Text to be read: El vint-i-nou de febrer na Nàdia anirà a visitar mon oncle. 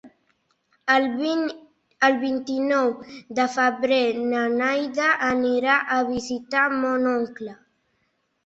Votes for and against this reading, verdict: 0, 2, rejected